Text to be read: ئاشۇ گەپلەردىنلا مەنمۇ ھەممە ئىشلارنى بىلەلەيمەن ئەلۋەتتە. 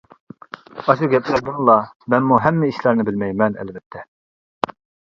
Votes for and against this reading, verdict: 0, 2, rejected